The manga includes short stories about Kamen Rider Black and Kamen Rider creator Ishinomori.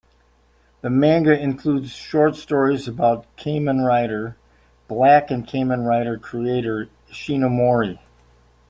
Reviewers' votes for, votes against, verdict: 1, 2, rejected